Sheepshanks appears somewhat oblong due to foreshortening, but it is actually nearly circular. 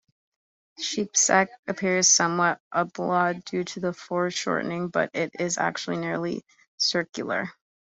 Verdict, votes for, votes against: rejected, 0, 2